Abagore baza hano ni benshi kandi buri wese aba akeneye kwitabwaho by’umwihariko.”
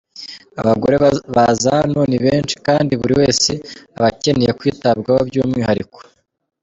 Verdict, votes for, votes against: rejected, 0, 2